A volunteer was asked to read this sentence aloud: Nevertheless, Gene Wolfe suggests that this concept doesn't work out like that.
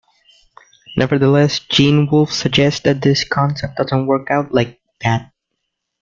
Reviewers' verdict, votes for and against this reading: accepted, 3, 0